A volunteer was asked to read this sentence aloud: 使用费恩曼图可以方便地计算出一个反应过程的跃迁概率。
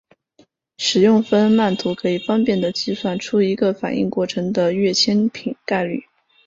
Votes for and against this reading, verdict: 2, 1, accepted